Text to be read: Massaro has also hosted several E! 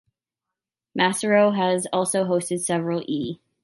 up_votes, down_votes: 2, 0